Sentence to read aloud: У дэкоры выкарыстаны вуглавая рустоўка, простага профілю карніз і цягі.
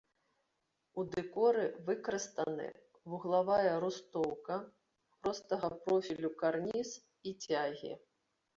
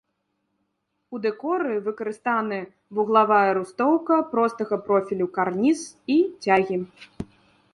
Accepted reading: second